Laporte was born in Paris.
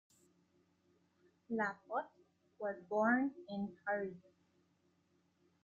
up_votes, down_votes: 0, 2